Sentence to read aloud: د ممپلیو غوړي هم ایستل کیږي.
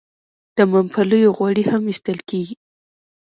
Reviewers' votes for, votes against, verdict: 2, 0, accepted